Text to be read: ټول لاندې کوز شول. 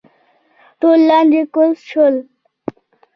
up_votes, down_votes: 1, 2